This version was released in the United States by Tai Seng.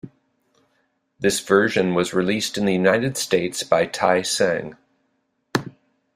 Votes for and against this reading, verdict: 2, 0, accepted